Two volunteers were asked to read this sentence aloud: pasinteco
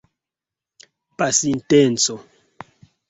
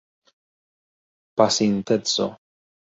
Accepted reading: second